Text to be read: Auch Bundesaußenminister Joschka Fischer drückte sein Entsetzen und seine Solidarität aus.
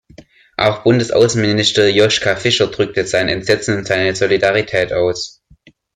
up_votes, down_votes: 1, 2